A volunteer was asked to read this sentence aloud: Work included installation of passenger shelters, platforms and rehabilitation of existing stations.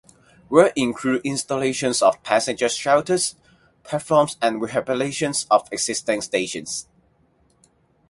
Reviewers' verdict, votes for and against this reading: rejected, 0, 4